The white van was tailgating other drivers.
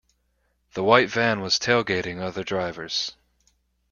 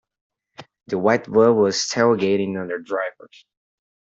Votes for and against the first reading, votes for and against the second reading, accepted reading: 2, 0, 0, 2, first